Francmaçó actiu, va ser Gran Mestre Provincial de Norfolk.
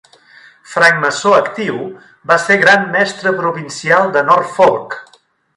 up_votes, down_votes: 1, 2